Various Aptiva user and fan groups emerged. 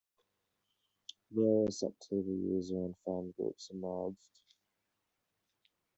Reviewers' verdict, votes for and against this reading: rejected, 0, 2